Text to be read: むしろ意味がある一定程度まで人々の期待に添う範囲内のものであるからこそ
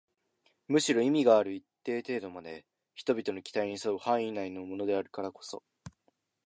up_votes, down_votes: 2, 0